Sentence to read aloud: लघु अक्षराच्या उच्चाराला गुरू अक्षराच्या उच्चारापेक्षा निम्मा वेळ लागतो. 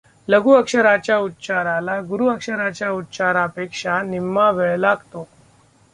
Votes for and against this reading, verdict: 2, 0, accepted